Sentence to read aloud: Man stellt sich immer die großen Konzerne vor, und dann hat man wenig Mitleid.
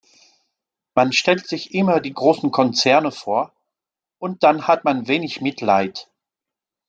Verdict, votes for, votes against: accepted, 2, 0